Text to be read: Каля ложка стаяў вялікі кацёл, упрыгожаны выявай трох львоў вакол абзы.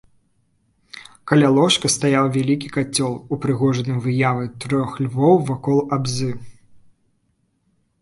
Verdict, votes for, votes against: accepted, 2, 0